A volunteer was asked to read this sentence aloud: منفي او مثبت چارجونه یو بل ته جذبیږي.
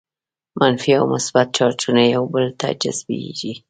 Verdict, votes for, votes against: accepted, 2, 0